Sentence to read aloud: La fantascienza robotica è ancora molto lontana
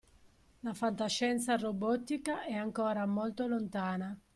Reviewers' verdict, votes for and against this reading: accepted, 2, 0